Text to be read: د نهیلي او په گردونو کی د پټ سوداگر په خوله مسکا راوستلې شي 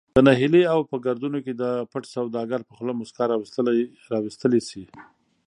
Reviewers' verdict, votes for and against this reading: accepted, 3, 0